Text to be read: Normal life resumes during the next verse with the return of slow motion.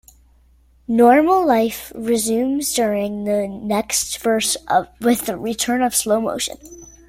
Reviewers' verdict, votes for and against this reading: accepted, 2, 1